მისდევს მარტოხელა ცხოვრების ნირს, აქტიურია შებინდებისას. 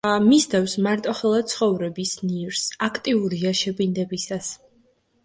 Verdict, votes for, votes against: accepted, 2, 0